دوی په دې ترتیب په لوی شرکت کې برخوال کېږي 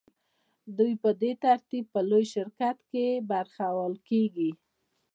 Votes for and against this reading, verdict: 1, 2, rejected